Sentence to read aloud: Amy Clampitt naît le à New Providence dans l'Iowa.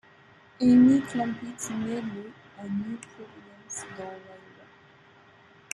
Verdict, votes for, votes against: rejected, 0, 2